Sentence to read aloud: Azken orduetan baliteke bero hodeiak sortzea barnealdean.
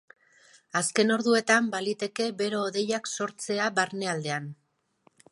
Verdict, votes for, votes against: accepted, 2, 0